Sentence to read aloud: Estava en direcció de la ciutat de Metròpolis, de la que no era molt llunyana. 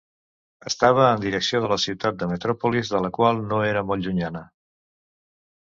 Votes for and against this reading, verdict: 2, 1, accepted